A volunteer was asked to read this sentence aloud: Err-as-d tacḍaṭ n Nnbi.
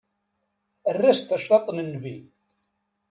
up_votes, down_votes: 2, 0